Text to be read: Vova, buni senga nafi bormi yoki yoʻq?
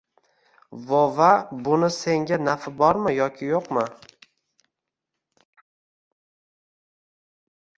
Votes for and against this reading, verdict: 1, 2, rejected